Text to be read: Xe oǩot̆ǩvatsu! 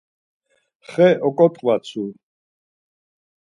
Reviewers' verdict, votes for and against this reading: accepted, 4, 0